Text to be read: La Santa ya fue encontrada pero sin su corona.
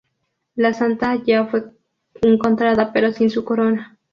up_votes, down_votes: 0, 2